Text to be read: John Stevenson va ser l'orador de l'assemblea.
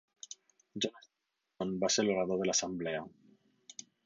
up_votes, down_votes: 0, 6